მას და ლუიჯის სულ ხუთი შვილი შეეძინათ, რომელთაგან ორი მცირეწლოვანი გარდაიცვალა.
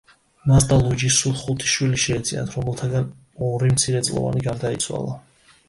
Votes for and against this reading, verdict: 2, 0, accepted